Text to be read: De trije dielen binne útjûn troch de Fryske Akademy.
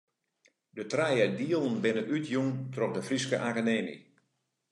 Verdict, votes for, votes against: accepted, 2, 0